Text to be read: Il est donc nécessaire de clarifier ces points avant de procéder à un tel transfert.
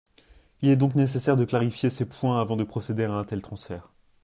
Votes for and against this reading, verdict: 2, 0, accepted